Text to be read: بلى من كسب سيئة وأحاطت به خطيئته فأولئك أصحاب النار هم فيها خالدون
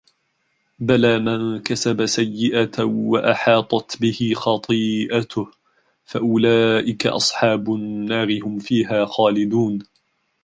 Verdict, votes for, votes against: accepted, 2, 0